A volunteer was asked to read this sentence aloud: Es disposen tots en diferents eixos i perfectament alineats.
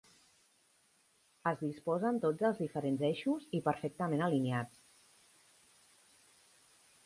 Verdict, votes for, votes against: rejected, 0, 2